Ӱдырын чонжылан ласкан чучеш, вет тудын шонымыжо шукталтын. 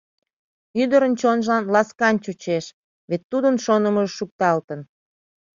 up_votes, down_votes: 2, 0